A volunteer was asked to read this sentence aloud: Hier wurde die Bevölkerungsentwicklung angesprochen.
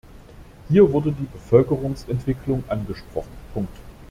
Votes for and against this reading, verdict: 0, 2, rejected